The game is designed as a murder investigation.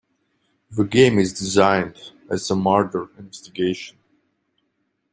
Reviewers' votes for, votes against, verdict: 2, 0, accepted